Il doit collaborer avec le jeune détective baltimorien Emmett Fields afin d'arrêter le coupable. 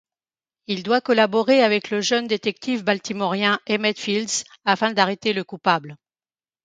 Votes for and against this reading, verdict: 2, 0, accepted